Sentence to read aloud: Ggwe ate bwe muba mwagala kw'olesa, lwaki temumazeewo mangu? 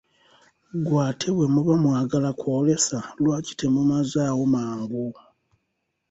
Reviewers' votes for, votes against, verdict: 0, 2, rejected